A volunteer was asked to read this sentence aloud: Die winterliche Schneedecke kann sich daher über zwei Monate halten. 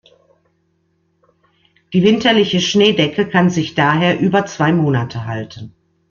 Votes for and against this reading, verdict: 2, 0, accepted